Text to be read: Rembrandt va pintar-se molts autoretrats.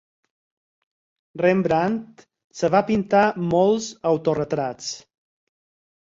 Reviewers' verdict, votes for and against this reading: rejected, 2, 4